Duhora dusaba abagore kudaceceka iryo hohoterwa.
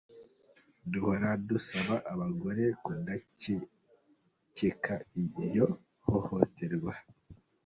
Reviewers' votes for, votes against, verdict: 0, 2, rejected